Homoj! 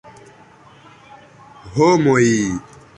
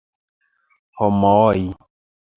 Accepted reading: first